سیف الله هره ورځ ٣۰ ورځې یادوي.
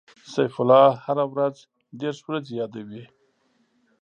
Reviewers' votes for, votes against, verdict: 0, 2, rejected